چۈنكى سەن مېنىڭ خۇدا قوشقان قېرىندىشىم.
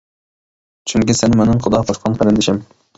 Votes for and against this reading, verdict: 0, 2, rejected